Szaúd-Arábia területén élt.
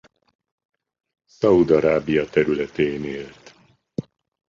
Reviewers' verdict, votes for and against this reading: rejected, 0, 2